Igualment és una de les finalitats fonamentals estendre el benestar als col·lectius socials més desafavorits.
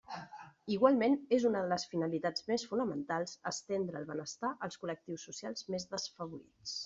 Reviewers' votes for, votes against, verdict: 1, 2, rejected